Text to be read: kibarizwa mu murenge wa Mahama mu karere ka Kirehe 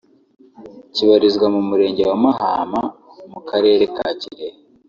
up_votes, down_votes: 4, 0